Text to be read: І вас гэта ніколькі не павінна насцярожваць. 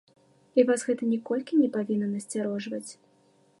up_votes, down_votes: 2, 0